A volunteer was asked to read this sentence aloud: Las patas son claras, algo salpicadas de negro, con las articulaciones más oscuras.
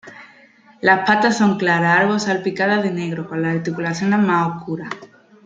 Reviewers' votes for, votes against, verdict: 2, 0, accepted